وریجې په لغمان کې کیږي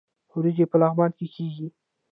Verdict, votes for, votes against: accepted, 2, 1